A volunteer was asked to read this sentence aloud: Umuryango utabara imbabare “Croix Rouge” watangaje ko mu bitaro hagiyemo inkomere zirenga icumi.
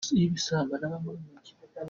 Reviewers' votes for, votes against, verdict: 0, 2, rejected